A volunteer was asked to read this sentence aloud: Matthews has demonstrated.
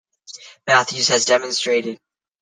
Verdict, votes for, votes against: accepted, 2, 0